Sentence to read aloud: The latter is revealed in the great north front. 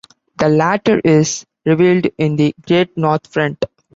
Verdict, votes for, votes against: accepted, 2, 0